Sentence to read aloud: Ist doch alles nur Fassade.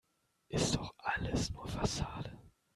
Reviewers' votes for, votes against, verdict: 1, 2, rejected